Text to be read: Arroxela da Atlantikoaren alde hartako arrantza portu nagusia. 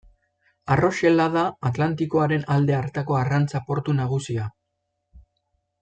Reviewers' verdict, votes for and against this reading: accepted, 2, 0